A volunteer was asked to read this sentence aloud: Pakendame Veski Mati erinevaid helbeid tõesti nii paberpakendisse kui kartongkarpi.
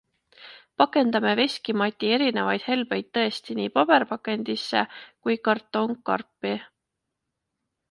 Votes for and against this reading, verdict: 2, 0, accepted